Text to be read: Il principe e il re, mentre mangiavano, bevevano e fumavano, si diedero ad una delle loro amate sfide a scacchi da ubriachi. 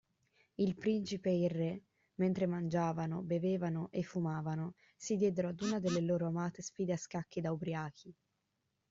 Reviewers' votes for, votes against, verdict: 2, 0, accepted